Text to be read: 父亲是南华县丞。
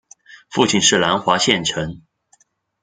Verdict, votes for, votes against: rejected, 1, 2